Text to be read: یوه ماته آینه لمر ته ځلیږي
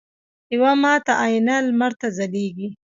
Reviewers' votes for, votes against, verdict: 2, 1, accepted